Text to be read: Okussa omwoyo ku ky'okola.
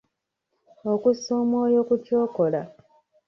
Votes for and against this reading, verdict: 0, 2, rejected